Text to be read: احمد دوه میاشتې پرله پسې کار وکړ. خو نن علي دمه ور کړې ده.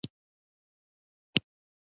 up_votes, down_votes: 0, 2